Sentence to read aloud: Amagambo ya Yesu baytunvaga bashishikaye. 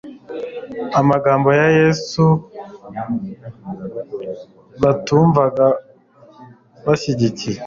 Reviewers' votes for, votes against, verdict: 3, 4, rejected